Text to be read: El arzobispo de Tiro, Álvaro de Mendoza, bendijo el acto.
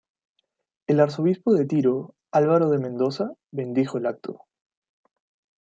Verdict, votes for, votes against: accepted, 2, 0